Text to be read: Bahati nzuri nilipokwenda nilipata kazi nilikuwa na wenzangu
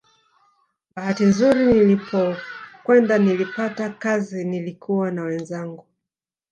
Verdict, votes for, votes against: accepted, 2, 1